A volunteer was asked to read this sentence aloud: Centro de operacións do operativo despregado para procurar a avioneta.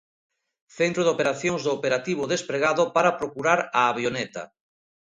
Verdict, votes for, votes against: accepted, 2, 0